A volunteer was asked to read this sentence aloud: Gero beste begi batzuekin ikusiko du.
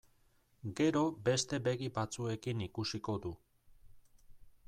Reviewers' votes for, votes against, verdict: 2, 0, accepted